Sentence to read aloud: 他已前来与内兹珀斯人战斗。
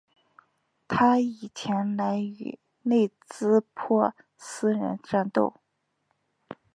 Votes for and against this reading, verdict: 3, 0, accepted